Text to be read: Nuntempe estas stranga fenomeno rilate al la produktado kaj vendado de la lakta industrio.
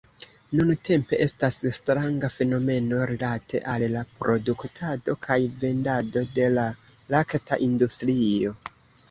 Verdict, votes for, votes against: rejected, 1, 2